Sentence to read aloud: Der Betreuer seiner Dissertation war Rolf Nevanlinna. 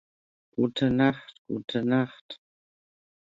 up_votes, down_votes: 0, 2